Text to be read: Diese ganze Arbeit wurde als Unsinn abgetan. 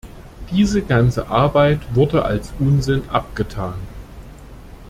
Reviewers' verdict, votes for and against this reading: accepted, 2, 0